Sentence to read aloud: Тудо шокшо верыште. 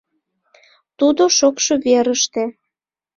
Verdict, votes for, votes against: accepted, 2, 1